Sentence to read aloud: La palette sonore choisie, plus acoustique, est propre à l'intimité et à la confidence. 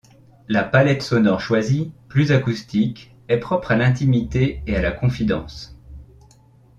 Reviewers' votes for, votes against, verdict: 2, 0, accepted